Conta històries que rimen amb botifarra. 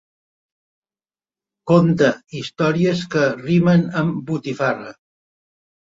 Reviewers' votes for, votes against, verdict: 4, 0, accepted